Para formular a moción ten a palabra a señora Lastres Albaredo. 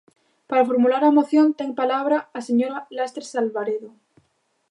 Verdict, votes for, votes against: rejected, 1, 2